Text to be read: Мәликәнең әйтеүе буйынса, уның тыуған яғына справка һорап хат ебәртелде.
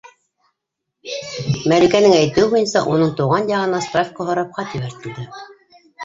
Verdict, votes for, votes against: rejected, 1, 2